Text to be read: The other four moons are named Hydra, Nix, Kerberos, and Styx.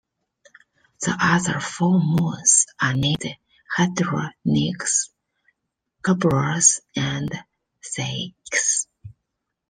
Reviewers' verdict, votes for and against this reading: accepted, 2, 0